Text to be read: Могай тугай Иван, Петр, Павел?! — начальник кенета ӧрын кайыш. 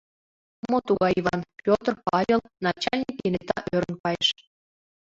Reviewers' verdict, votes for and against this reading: rejected, 1, 2